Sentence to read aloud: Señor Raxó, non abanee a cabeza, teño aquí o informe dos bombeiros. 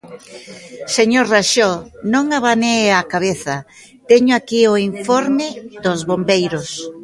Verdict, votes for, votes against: rejected, 1, 2